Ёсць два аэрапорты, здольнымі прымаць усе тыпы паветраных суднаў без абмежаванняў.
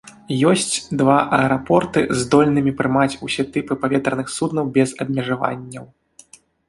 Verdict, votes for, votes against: accepted, 2, 0